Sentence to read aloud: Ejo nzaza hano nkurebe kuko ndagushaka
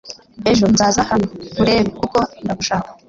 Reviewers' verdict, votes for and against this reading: accepted, 2, 0